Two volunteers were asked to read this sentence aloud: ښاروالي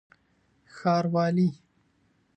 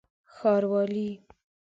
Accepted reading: first